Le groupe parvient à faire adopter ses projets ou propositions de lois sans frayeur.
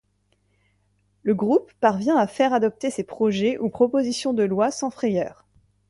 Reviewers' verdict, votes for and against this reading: accepted, 2, 0